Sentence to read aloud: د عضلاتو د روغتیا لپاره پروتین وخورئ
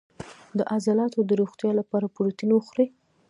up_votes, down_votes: 0, 2